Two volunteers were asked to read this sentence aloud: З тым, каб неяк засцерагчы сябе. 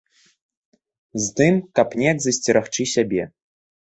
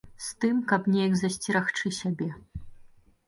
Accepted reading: second